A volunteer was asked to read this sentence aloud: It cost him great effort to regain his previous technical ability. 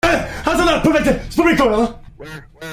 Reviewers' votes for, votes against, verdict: 0, 2, rejected